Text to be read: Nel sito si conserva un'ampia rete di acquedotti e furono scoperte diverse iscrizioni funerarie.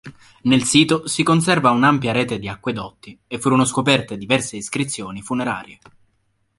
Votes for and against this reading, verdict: 2, 0, accepted